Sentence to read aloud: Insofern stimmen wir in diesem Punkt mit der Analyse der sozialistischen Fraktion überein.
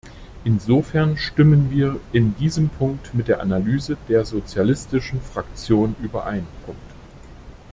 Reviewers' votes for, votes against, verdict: 0, 2, rejected